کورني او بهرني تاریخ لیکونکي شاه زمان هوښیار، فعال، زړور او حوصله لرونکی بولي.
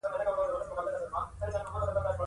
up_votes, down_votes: 1, 2